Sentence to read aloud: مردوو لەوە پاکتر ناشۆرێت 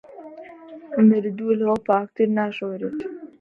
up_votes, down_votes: 0, 2